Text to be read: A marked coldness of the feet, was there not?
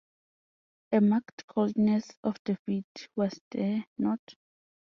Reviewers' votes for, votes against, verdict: 2, 0, accepted